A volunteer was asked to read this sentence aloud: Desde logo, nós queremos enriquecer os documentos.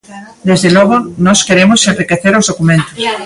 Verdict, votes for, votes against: rejected, 1, 2